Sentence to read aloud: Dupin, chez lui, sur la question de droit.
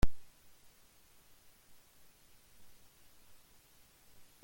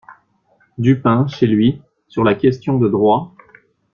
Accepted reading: second